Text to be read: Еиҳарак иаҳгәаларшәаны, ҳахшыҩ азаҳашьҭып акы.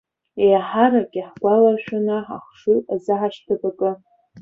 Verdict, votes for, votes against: rejected, 1, 2